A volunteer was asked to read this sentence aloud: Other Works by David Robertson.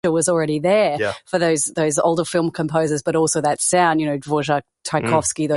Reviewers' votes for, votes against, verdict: 0, 4, rejected